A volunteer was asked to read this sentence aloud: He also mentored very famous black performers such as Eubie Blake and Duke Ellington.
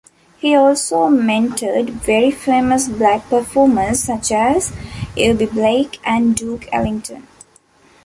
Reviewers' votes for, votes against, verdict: 2, 0, accepted